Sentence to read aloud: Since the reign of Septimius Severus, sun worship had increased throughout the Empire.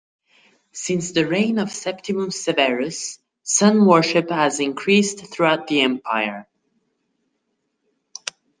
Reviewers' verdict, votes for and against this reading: accepted, 2, 0